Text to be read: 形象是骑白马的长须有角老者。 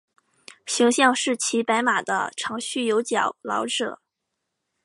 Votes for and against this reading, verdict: 5, 0, accepted